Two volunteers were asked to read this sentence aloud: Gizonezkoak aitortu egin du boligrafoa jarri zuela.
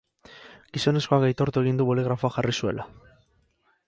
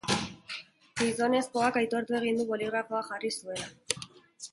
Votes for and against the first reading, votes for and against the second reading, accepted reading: 10, 0, 1, 2, first